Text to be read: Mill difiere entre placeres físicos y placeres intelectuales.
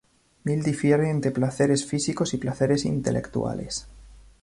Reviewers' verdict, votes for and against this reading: accepted, 2, 0